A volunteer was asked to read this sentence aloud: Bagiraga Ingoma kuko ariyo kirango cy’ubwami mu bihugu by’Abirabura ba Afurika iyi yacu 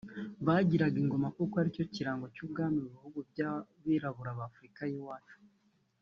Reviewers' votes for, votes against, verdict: 2, 0, accepted